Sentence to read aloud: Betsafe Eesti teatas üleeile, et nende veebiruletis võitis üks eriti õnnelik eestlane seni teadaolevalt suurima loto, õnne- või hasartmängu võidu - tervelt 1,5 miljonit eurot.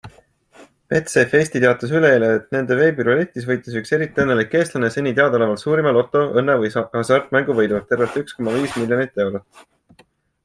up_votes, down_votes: 0, 2